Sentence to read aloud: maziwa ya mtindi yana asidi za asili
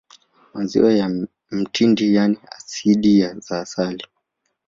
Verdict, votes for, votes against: rejected, 1, 2